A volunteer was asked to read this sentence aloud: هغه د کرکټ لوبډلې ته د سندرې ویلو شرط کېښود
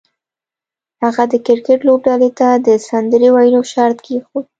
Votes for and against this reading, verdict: 2, 0, accepted